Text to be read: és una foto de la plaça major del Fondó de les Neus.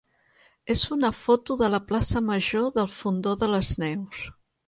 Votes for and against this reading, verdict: 2, 0, accepted